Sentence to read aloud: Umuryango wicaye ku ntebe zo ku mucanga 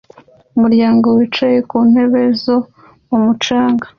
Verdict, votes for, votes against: accepted, 3, 1